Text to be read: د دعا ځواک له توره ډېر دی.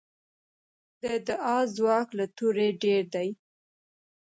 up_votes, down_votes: 2, 0